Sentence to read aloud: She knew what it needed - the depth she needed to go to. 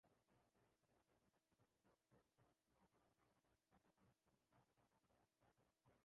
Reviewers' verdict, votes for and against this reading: rejected, 0, 2